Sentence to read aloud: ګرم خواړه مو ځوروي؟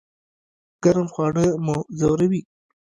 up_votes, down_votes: 1, 2